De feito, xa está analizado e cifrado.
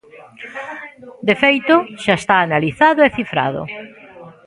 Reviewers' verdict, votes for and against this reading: rejected, 1, 2